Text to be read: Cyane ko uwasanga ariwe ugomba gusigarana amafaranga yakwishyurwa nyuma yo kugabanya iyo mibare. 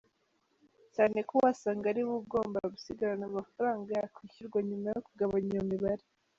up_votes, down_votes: 3, 0